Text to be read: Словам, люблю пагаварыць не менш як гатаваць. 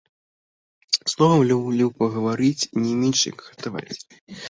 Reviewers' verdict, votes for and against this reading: rejected, 0, 2